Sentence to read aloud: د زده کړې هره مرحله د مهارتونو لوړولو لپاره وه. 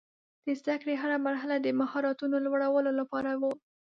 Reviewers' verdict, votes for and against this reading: accepted, 2, 0